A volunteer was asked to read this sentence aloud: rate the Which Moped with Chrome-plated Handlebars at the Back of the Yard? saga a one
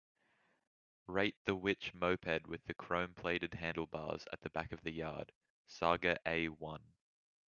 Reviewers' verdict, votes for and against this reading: accepted, 2, 1